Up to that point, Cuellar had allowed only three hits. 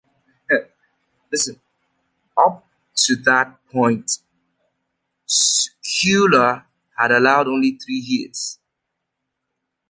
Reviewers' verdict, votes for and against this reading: rejected, 1, 2